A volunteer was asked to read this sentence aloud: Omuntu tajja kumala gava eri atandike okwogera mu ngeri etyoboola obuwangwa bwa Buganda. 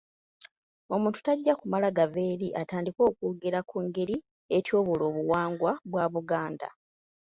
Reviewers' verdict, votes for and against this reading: rejected, 1, 2